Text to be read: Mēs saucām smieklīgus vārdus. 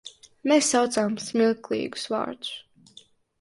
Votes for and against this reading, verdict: 4, 7, rejected